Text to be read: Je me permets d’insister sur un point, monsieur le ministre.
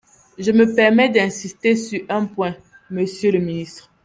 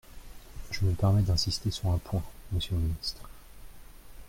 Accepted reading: first